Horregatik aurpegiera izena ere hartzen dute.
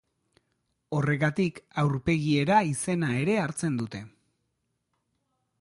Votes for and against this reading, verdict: 2, 0, accepted